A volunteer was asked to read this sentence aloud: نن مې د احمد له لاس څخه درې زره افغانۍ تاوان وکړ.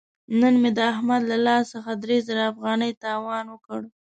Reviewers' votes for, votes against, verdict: 2, 0, accepted